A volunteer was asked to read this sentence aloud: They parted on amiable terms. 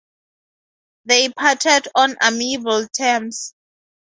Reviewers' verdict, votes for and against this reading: accepted, 2, 0